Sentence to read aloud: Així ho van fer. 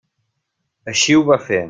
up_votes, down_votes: 0, 2